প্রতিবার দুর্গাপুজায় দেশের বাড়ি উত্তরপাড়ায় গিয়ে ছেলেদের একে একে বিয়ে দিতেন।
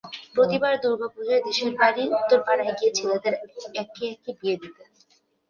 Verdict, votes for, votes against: accepted, 2, 0